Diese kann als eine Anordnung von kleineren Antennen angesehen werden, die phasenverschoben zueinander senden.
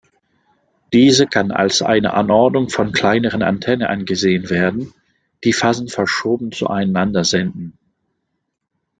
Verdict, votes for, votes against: accepted, 2, 1